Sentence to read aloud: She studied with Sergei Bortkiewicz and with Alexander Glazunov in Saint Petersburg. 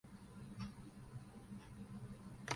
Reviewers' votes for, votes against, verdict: 0, 6, rejected